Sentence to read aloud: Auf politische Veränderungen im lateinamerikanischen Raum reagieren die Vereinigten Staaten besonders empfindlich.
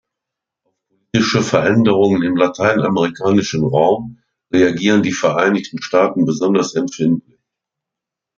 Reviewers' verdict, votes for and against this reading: rejected, 0, 2